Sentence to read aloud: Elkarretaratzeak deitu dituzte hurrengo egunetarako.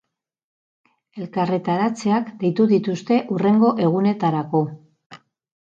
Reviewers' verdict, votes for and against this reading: accepted, 4, 0